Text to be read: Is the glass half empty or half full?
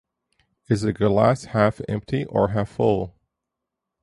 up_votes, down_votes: 0, 4